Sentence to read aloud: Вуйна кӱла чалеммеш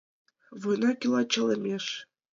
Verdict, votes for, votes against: rejected, 0, 2